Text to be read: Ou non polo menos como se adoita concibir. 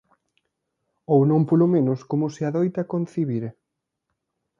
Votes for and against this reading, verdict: 2, 0, accepted